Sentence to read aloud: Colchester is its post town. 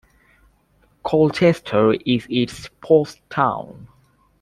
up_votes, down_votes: 2, 0